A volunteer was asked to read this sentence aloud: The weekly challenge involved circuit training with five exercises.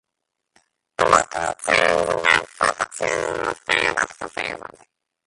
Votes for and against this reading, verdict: 0, 2, rejected